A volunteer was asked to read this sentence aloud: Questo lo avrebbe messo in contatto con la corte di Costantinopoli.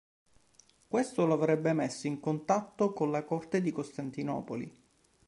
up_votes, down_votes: 2, 0